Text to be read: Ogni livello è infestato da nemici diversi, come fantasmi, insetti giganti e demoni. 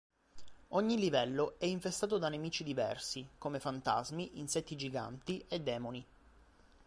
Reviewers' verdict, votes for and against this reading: accepted, 2, 0